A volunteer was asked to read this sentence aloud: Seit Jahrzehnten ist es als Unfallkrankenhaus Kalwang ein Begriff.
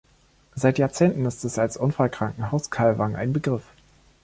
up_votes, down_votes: 1, 2